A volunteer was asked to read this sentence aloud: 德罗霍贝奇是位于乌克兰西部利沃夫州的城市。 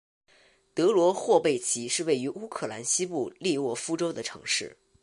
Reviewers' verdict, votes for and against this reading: accepted, 3, 0